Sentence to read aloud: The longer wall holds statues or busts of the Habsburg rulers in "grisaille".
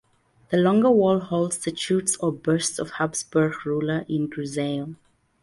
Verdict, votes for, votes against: rejected, 0, 2